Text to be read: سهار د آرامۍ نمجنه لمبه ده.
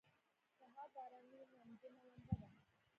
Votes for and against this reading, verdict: 1, 2, rejected